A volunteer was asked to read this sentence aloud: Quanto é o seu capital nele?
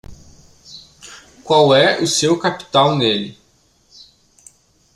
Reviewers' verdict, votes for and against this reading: rejected, 1, 2